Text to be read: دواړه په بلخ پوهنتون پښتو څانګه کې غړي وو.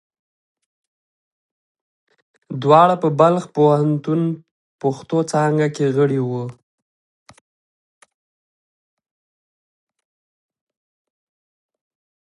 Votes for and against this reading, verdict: 2, 1, accepted